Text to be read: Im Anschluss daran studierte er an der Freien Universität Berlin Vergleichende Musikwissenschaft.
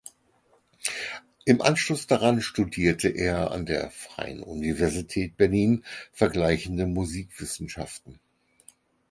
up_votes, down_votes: 2, 4